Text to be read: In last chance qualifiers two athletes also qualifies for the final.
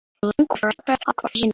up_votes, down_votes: 0, 2